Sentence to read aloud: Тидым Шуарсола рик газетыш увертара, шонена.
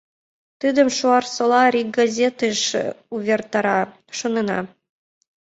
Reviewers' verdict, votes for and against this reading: accepted, 2, 0